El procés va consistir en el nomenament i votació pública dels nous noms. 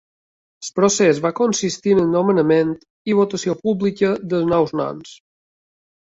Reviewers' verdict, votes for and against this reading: rejected, 1, 2